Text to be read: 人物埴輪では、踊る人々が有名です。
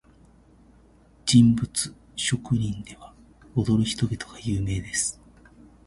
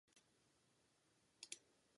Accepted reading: first